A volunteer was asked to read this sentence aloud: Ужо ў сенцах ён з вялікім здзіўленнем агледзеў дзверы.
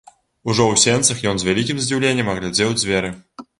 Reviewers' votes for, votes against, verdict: 1, 2, rejected